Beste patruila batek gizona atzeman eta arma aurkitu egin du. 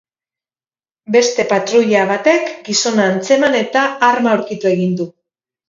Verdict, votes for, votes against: rejected, 2, 2